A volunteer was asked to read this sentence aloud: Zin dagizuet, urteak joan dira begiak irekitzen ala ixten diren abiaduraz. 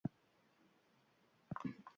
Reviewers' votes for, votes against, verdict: 1, 3, rejected